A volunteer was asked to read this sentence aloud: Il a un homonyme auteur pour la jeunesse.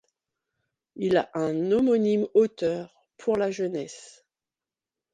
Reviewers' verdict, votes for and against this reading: accepted, 2, 0